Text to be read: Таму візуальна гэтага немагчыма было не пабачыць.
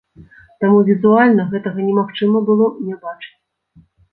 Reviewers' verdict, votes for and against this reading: rejected, 1, 2